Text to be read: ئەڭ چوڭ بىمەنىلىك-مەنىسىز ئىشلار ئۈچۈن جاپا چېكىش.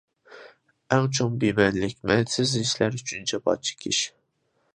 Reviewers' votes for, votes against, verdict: 0, 2, rejected